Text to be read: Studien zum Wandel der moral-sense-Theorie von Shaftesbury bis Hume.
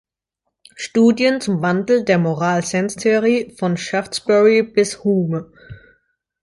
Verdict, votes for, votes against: accepted, 2, 0